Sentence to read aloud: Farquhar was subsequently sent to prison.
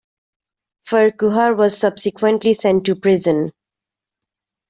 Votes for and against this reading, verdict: 1, 2, rejected